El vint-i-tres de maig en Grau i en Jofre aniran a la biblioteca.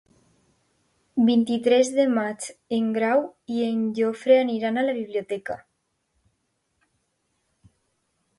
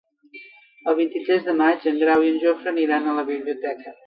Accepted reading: second